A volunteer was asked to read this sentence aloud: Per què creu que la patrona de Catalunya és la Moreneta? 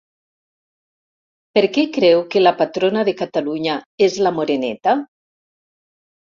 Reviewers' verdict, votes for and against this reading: accepted, 5, 0